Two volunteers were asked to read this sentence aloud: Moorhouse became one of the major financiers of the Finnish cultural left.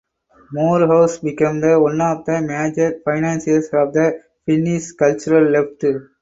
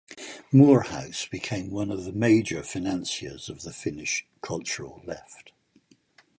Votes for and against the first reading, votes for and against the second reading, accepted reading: 4, 4, 4, 0, second